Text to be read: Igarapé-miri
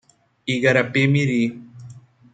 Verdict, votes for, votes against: accepted, 2, 1